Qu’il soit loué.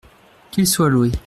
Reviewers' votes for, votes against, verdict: 2, 0, accepted